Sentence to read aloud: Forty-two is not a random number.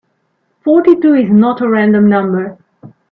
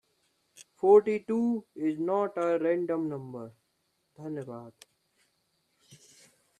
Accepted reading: first